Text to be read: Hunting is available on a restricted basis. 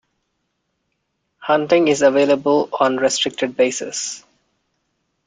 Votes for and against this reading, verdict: 1, 2, rejected